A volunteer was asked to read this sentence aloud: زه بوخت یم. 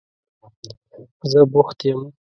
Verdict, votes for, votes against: accepted, 2, 0